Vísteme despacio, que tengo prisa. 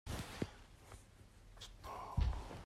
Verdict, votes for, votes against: rejected, 0, 2